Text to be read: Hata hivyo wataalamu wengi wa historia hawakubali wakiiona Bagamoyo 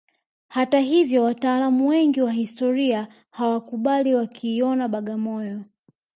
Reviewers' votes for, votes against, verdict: 2, 0, accepted